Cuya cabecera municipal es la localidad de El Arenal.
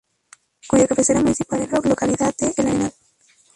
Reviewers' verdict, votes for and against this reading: rejected, 0, 2